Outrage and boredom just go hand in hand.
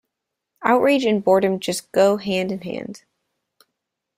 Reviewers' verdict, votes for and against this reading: accepted, 2, 0